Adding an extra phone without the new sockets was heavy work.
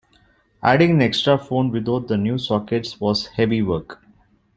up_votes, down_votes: 2, 0